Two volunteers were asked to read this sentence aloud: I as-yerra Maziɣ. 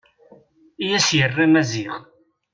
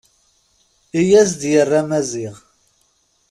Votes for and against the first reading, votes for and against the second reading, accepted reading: 2, 0, 0, 2, first